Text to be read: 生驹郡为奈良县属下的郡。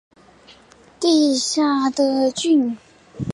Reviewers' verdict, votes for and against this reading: rejected, 0, 3